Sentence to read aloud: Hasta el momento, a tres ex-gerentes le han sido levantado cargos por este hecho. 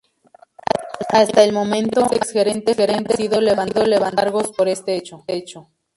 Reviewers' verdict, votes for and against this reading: rejected, 0, 2